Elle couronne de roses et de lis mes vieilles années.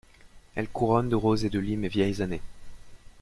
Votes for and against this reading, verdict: 2, 0, accepted